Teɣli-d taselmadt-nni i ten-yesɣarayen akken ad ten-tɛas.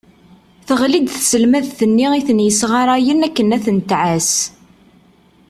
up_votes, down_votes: 3, 0